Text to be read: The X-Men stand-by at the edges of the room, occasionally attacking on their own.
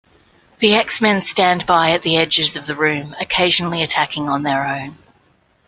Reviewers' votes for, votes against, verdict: 2, 0, accepted